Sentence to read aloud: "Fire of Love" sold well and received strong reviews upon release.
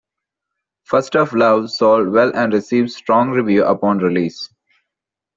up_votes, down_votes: 0, 2